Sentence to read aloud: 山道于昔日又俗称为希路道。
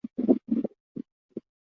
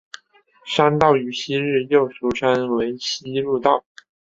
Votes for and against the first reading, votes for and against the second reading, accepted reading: 0, 4, 5, 0, second